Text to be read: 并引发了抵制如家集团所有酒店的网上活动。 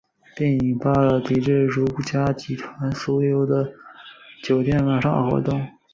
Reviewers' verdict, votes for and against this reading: rejected, 1, 4